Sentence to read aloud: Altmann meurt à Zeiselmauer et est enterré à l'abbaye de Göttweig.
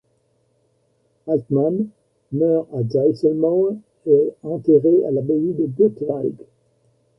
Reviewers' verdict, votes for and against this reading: rejected, 0, 2